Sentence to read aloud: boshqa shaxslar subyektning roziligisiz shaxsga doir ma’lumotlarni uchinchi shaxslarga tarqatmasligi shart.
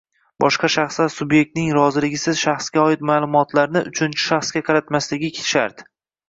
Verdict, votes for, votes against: rejected, 0, 2